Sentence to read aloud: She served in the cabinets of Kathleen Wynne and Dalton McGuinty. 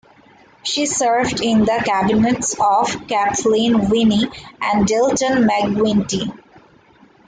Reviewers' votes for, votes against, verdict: 0, 2, rejected